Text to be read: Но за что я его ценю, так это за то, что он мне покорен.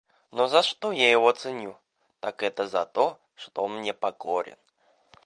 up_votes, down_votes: 2, 0